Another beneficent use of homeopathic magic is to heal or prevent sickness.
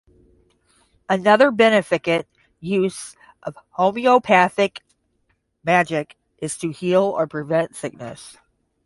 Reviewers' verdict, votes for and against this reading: rejected, 5, 5